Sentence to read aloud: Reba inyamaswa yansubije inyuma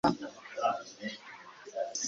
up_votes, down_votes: 1, 2